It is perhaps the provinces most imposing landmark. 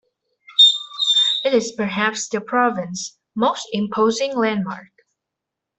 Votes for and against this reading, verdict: 0, 2, rejected